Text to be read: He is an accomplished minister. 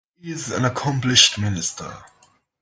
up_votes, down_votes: 2, 0